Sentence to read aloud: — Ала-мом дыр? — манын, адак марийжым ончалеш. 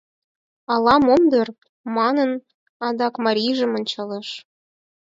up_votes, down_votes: 4, 0